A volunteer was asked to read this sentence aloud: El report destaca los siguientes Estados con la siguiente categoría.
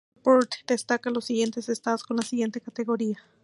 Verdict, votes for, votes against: rejected, 0, 2